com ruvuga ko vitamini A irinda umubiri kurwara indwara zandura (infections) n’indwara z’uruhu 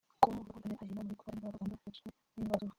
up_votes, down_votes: 0, 2